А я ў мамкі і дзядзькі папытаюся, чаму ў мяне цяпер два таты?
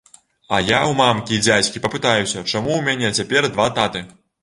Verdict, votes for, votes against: accepted, 2, 0